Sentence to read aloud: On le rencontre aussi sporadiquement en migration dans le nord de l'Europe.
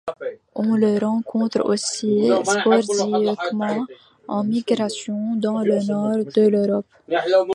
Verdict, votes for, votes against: rejected, 0, 2